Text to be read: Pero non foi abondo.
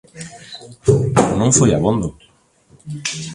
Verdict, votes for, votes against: rejected, 1, 2